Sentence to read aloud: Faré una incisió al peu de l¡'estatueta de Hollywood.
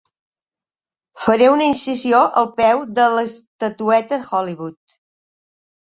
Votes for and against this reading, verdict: 1, 2, rejected